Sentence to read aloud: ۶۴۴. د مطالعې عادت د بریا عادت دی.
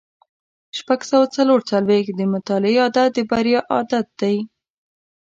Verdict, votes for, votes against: rejected, 0, 2